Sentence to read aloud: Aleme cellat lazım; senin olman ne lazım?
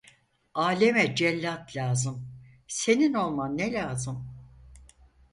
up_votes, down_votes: 4, 0